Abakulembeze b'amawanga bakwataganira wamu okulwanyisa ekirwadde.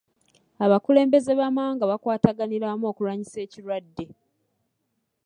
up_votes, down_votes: 2, 1